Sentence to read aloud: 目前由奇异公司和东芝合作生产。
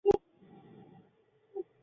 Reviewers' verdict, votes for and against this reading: rejected, 1, 2